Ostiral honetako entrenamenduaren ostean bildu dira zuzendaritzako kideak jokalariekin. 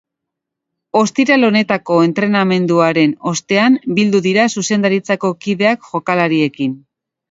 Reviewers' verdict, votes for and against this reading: accepted, 2, 0